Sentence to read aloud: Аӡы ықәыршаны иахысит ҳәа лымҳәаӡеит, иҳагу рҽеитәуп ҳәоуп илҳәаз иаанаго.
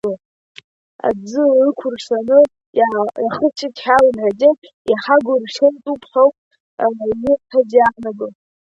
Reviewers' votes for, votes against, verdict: 0, 2, rejected